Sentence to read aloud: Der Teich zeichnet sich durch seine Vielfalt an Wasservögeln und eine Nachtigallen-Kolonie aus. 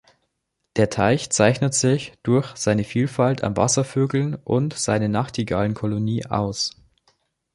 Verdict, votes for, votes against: rejected, 0, 2